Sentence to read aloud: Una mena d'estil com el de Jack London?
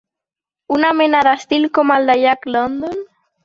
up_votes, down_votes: 3, 0